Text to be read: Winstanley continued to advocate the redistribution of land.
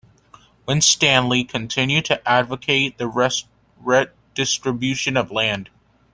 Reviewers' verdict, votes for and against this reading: rejected, 0, 2